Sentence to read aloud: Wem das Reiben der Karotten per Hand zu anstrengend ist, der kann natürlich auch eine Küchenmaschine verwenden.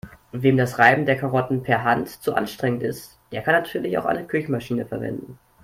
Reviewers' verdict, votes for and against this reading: accepted, 2, 0